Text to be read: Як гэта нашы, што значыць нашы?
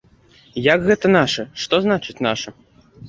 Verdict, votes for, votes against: accepted, 2, 1